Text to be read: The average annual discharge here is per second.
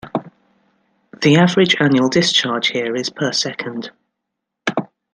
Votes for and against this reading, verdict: 2, 0, accepted